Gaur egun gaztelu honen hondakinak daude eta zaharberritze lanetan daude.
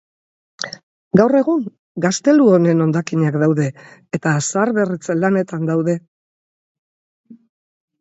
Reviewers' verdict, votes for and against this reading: accepted, 4, 0